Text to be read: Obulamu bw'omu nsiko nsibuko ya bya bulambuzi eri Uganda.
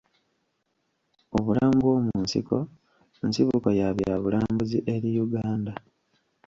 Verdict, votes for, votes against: rejected, 1, 2